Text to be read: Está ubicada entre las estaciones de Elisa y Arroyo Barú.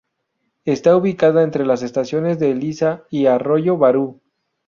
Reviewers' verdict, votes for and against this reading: accepted, 2, 0